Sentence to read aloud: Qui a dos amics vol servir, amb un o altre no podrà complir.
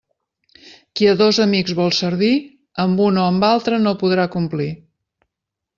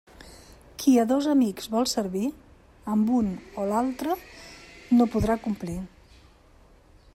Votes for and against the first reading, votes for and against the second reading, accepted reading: 0, 2, 2, 0, second